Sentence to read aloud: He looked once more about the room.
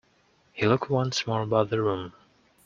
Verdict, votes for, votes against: accepted, 2, 1